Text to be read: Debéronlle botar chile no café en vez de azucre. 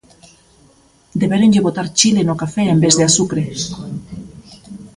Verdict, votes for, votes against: accepted, 2, 0